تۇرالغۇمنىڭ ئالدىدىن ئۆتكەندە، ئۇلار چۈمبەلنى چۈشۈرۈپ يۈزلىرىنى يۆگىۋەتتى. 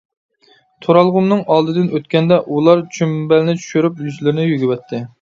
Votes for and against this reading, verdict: 2, 1, accepted